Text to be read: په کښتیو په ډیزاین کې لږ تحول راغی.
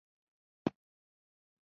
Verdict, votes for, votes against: rejected, 0, 2